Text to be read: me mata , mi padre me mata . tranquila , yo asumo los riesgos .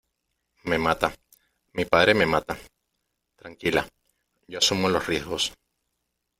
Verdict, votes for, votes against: accepted, 2, 0